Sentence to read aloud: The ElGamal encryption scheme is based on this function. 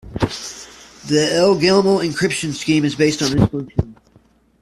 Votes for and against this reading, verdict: 1, 2, rejected